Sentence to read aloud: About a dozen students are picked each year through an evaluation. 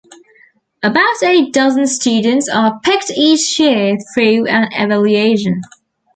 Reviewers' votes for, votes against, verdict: 1, 2, rejected